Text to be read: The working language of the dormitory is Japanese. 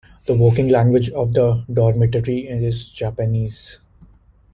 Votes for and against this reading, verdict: 2, 1, accepted